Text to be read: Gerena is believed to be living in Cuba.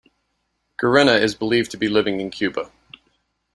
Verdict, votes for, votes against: accepted, 2, 0